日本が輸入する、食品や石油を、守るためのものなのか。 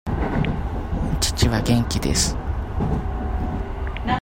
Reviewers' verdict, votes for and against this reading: rejected, 0, 2